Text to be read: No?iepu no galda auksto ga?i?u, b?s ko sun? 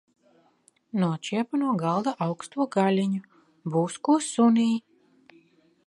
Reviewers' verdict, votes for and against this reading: rejected, 1, 2